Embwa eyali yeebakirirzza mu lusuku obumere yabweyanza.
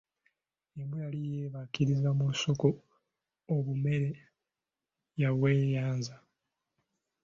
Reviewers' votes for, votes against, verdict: 0, 2, rejected